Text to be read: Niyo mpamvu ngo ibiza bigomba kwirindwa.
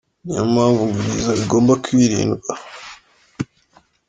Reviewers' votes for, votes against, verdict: 2, 0, accepted